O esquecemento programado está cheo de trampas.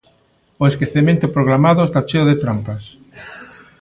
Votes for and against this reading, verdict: 2, 0, accepted